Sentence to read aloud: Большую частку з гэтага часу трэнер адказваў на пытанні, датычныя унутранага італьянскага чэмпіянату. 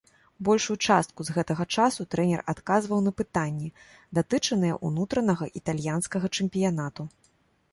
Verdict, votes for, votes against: rejected, 1, 2